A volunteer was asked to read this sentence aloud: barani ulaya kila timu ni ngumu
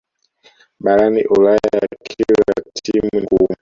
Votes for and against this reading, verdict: 0, 2, rejected